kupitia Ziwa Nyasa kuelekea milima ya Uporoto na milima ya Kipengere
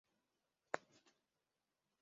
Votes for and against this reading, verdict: 0, 2, rejected